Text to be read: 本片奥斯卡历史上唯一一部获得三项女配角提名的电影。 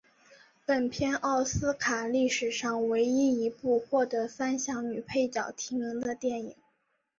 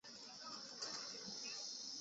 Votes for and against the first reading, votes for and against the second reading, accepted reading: 4, 2, 0, 2, first